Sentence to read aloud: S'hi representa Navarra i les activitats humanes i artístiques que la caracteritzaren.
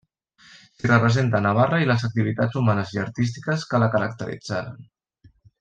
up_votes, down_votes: 2, 1